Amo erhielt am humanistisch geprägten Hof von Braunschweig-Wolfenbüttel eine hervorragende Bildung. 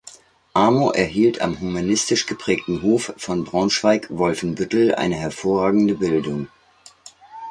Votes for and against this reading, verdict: 2, 0, accepted